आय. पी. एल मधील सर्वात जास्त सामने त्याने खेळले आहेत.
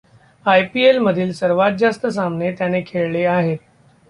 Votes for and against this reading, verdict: 1, 2, rejected